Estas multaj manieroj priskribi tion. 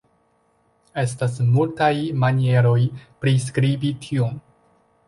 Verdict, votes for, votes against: accepted, 2, 0